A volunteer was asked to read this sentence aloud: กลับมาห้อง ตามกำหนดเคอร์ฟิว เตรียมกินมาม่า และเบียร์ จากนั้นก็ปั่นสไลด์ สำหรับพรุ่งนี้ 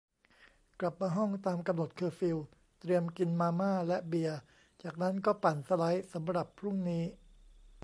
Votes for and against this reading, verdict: 1, 2, rejected